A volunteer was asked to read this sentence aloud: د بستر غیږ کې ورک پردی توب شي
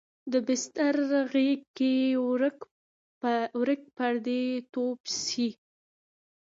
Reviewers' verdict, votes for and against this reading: accepted, 2, 1